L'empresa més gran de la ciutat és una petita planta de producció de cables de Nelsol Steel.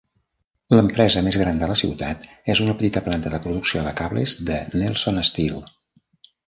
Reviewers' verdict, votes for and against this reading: accepted, 2, 0